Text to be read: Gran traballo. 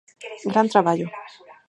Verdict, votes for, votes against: accepted, 4, 0